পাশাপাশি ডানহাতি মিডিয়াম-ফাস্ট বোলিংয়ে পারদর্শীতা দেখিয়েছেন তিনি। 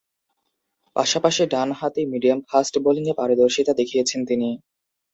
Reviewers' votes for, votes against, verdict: 6, 0, accepted